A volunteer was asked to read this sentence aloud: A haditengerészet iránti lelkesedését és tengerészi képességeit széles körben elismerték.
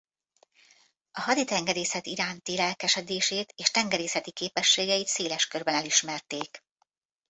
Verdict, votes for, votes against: rejected, 1, 2